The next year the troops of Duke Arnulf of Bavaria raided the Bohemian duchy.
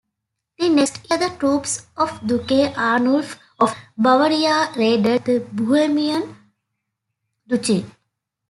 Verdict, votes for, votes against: rejected, 1, 2